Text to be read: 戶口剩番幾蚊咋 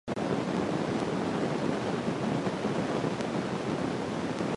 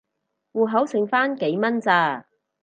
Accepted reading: second